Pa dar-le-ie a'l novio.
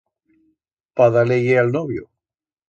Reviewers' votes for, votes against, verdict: 2, 0, accepted